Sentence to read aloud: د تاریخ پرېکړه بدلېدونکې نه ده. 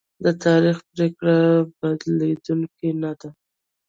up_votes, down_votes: 1, 2